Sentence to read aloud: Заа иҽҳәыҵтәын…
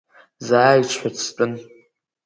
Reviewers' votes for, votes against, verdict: 2, 0, accepted